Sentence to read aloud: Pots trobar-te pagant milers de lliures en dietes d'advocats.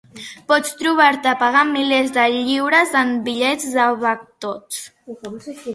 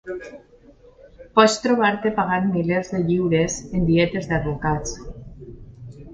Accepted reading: second